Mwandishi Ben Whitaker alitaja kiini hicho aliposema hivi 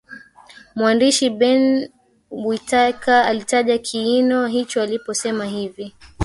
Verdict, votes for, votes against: rejected, 0, 3